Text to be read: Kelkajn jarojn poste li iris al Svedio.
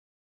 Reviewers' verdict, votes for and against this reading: rejected, 1, 2